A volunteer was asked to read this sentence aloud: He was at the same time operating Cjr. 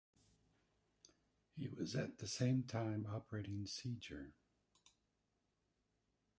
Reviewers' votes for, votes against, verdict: 0, 2, rejected